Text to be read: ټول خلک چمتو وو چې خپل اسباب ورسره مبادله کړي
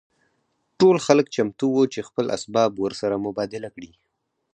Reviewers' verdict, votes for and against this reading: accepted, 4, 0